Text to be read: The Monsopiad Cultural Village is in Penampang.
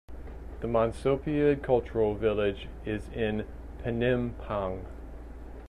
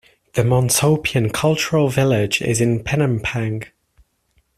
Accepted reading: first